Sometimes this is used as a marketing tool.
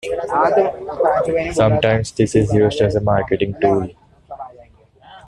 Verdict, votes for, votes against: rejected, 1, 2